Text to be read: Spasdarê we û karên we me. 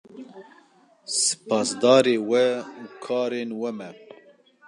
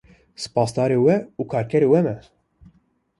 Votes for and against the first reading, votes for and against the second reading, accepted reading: 2, 0, 1, 2, first